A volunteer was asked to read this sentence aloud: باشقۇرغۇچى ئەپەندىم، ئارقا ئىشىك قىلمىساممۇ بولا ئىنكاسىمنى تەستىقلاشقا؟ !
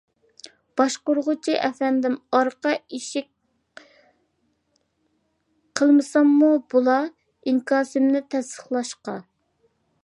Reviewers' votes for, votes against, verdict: 0, 2, rejected